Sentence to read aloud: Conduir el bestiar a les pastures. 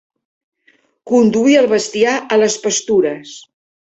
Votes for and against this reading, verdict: 2, 0, accepted